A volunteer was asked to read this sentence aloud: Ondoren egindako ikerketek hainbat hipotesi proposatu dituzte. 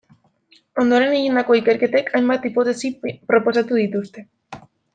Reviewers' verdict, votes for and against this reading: rejected, 0, 2